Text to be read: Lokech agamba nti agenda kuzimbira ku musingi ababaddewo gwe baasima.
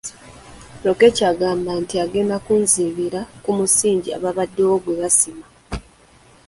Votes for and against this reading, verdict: 0, 2, rejected